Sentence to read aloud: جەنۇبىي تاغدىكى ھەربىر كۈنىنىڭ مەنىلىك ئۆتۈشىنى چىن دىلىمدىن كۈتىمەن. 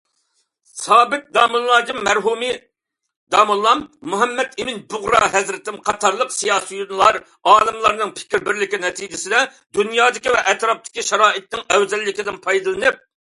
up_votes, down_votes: 0, 2